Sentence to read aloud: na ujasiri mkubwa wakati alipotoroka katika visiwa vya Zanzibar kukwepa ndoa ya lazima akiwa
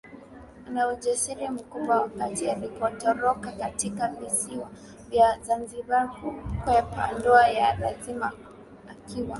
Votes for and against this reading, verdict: 4, 3, accepted